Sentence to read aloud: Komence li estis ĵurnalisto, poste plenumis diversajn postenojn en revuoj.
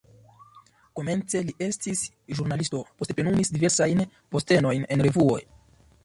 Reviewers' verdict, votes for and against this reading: accepted, 2, 0